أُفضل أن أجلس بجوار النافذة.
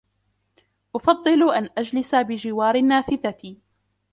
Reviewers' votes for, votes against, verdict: 1, 2, rejected